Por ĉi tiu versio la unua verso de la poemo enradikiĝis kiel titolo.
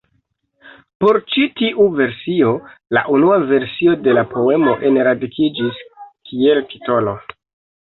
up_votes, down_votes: 1, 2